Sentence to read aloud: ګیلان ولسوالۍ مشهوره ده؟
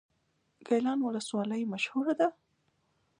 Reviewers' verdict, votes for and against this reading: accepted, 2, 0